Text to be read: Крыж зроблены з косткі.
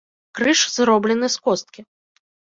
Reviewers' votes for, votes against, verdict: 2, 0, accepted